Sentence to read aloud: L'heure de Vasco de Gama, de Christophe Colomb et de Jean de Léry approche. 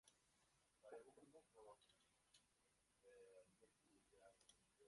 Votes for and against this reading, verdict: 0, 2, rejected